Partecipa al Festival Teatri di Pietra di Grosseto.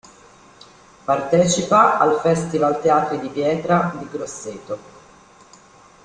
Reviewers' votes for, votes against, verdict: 2, 0, accepted